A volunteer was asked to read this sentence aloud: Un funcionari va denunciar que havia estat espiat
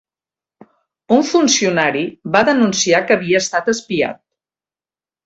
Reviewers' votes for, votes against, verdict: 2, 0, accepted